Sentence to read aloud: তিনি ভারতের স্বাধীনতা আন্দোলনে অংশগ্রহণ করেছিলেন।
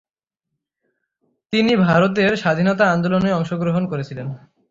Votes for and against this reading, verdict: 3, 0, accepted